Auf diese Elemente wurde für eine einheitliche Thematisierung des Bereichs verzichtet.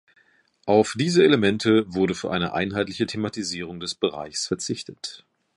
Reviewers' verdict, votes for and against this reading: accepted, 2, 0